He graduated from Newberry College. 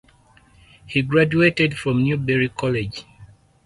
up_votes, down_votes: 4, 0